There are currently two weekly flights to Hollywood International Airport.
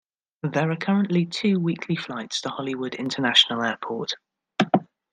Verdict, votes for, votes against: accepted, 2, 0